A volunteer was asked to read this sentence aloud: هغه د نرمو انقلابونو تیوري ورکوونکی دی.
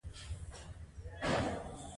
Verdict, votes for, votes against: rejected, 1, 2